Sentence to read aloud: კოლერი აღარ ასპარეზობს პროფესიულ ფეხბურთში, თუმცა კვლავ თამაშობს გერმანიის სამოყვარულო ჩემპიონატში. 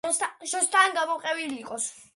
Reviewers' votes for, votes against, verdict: 1, 2, rejected